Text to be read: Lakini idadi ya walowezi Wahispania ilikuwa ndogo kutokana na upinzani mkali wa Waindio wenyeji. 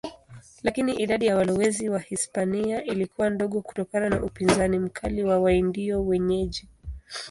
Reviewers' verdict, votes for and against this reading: accepted, 2, 1